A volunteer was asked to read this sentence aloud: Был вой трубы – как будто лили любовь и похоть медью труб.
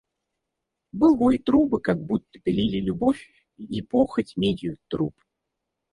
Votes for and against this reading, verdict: 2, 4, rejected